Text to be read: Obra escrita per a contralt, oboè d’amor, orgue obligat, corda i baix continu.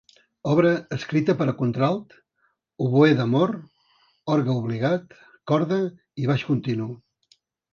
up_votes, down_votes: 2, 0